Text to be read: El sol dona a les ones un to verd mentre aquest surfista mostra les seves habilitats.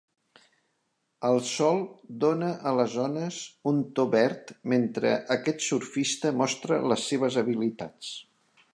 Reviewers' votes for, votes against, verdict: 2, 0, accepted